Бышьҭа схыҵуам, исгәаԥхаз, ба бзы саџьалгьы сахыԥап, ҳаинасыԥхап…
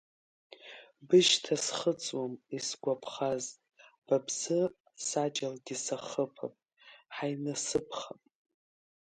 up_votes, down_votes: 1, 2